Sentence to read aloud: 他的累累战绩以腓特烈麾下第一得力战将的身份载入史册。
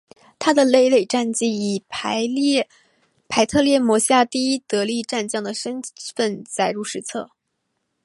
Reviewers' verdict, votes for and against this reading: accepted, 4, 0